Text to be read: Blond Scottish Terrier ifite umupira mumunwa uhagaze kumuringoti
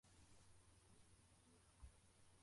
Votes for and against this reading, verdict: 0, 2, rejected